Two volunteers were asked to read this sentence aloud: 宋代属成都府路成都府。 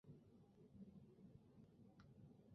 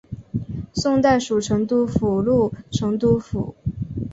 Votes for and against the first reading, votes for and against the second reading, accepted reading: 0, 2, 2, 0, second